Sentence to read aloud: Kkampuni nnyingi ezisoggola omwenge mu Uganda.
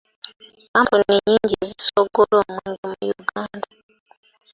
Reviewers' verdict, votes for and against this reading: accepted, 2, 1